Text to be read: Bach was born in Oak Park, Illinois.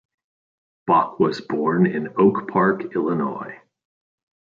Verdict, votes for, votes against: accepted, 2, 0